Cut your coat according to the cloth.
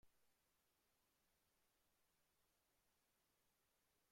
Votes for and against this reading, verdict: 0, 2, rejected